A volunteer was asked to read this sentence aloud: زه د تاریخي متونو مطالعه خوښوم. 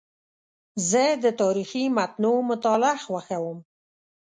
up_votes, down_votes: 0, 2